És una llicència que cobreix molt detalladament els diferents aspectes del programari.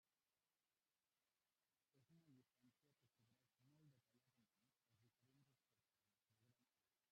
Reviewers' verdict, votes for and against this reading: rejected, 0, 2